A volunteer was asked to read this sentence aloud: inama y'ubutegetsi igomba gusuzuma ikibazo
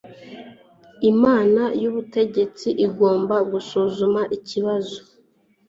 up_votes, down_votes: 2, 0